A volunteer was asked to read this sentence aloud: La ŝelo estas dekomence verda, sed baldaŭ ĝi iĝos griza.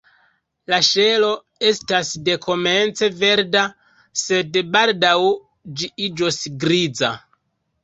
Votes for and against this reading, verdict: 2, 1, accepted